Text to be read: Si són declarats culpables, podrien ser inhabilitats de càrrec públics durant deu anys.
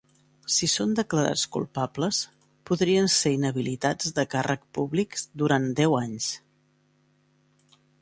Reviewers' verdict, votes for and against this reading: accepted, 2, 0